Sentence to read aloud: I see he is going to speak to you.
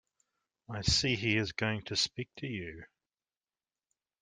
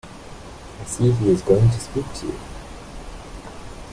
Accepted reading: first